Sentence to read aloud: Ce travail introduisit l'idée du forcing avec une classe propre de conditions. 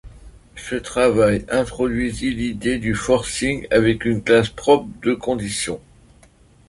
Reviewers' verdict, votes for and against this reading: accepted, 3, 0